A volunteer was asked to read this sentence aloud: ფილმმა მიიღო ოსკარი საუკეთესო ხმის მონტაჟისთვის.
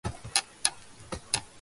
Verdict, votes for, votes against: rejected, 0, 2